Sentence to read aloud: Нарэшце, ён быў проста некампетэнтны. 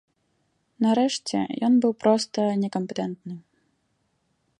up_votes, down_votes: 1, 2